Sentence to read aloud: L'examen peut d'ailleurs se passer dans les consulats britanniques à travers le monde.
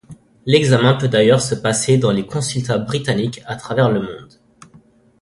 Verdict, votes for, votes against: rejected, 0, 2